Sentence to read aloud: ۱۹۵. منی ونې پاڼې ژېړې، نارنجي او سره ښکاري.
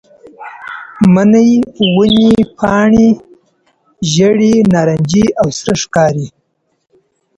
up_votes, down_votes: 0, 2